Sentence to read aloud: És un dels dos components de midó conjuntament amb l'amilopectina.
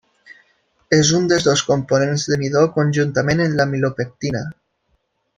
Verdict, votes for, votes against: rejected, 0, 2